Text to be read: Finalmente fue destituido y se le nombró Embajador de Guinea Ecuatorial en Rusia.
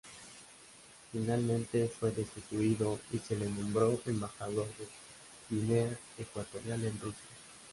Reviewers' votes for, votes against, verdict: 2, 0, accepted